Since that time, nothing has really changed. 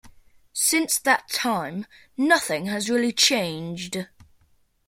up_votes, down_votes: 2, 0